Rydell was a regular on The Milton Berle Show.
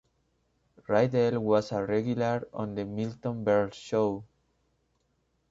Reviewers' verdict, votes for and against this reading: accepted, 2, 0